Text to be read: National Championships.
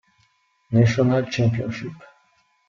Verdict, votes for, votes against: rejected, 1, 2